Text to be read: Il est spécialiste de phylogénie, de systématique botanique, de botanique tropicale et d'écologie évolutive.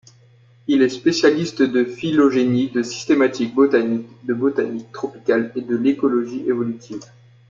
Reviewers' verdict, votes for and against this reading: rejected, 0, 2